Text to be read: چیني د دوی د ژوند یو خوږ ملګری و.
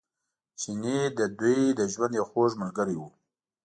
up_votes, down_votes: 2, 1